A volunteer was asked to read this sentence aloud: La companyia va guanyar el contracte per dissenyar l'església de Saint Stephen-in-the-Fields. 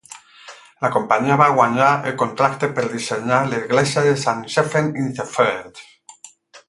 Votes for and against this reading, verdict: 4, 8, rejected